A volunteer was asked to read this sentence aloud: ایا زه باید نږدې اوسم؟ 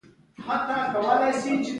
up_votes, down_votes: 0, 2